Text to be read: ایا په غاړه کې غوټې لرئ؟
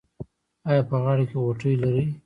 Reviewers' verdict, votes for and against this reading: accepted, 2, 0